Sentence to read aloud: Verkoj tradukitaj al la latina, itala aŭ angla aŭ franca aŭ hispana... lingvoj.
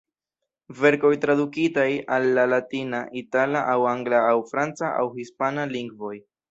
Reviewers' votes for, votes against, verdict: 1, 2, rejected